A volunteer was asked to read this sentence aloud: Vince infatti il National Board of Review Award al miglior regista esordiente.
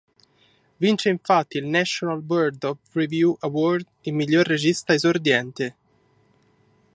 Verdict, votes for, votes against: accepted, 2, 1